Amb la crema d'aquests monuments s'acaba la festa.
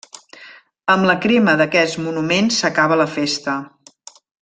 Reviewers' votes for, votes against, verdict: 1, 2, rejected